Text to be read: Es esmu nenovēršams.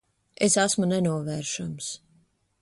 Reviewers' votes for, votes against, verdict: 2, 0, accepted